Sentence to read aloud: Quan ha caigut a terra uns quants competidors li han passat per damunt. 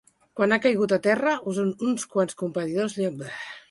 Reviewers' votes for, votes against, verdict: 0, 2, rejected